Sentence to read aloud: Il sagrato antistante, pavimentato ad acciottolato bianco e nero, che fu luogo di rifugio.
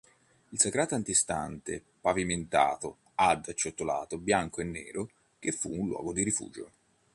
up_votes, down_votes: 1, 2